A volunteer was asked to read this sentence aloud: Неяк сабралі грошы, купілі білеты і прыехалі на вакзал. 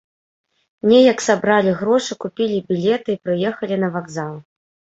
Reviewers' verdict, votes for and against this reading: accepted, 2, 0